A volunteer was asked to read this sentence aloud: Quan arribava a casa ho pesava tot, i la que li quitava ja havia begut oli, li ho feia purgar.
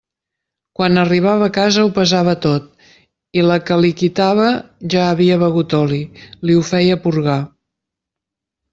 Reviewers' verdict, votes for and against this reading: accepted, 3, 0